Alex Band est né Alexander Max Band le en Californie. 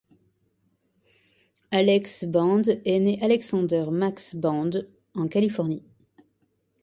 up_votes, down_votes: 1, 2